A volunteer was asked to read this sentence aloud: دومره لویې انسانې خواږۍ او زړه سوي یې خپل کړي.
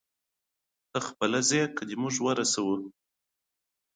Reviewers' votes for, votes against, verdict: 0, 2, rejected